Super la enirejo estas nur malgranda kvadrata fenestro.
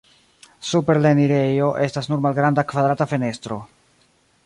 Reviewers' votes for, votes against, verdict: 1, 2, rejected